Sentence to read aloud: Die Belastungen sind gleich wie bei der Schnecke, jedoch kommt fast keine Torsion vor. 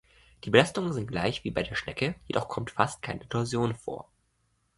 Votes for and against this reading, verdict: 0, 2, rejected